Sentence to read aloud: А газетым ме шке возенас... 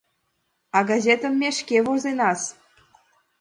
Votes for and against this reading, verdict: 2, 0, accepted